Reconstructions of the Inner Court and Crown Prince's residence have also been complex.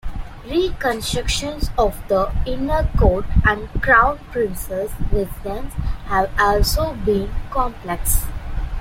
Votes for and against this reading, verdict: 1, 2, rejected